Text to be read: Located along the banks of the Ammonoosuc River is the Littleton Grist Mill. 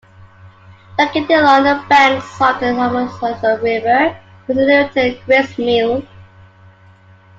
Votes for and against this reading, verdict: 0, 2, rejected